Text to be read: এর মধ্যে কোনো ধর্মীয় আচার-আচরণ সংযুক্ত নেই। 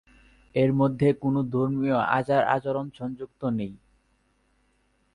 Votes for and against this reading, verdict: 2, 0, accepted